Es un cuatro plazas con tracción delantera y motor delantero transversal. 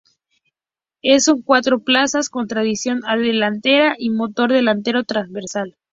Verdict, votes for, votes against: rejected, 0, 2